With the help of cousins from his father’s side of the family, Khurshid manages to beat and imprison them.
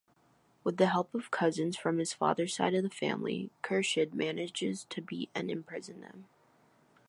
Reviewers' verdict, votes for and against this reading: accepted, 2, 0